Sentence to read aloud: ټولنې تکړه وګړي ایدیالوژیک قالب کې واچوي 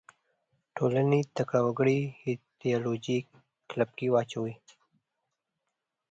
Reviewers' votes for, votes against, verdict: 1, 2, rejected